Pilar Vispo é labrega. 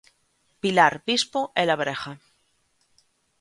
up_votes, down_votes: 2, 0